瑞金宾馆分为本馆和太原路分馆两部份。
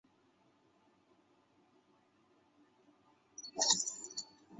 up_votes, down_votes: 0, 7